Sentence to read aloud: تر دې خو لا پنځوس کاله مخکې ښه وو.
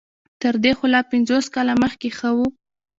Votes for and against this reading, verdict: 1, 2, rejected